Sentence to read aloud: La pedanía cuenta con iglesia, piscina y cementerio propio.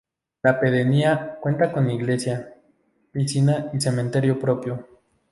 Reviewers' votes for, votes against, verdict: 0, 2, rejected